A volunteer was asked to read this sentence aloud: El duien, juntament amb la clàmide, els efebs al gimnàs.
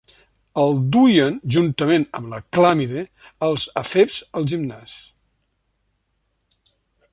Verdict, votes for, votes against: accepted, 2, 0